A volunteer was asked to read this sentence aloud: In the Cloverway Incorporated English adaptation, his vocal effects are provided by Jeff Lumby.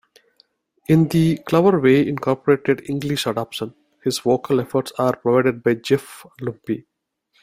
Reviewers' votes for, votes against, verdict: 1, 2, rejected